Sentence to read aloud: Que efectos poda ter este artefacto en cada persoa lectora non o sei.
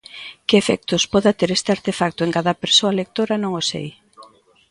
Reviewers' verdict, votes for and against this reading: rejected, 0, 2